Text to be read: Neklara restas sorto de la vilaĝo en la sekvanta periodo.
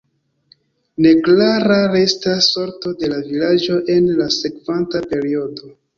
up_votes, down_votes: 1, 2